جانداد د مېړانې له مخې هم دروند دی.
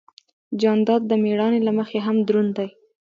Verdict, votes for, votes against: accepted, 2, 0